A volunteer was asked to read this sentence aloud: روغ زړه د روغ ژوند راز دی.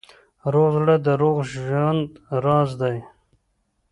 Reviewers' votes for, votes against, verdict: 2, 0, accepted